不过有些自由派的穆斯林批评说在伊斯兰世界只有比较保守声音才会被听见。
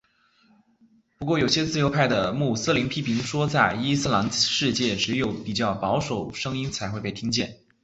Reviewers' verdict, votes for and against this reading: accepted, 2, 0